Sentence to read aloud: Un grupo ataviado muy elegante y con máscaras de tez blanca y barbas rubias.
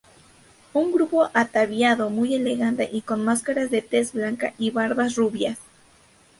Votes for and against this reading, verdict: 2, 0, accepted